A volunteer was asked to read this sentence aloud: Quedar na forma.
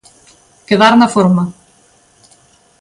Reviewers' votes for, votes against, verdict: 2, 0, accepted